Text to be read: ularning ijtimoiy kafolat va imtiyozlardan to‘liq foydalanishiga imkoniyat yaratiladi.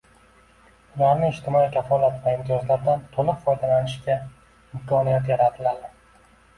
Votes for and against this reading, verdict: 2, 1, accepted